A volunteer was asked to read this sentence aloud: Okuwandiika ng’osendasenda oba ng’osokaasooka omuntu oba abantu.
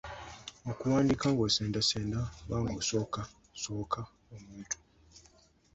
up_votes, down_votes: 0, 2